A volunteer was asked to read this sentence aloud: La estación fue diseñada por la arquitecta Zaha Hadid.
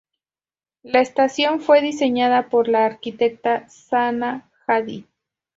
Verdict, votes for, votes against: rejected, 2, 2